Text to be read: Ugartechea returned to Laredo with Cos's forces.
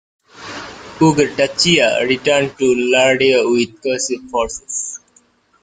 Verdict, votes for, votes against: rejected, 0, 2